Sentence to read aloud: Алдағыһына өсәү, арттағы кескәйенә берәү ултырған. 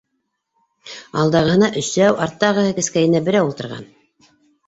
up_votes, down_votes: 1, 2